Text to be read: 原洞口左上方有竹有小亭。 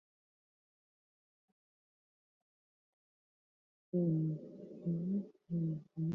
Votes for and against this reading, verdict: 0, 3, rejected